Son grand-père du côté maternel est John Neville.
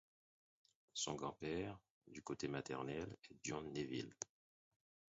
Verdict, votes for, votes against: rejected, 0, 4